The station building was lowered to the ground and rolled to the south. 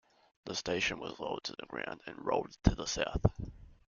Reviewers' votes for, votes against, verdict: 0, 2, rejected